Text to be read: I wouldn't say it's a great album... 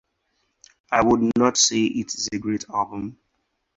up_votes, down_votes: 2, 4